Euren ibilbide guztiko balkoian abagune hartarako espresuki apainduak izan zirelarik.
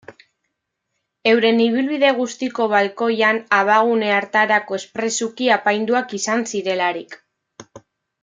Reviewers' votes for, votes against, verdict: 2, 0, accepted